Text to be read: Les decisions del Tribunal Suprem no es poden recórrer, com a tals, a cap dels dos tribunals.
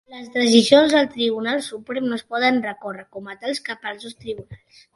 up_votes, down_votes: 0, 2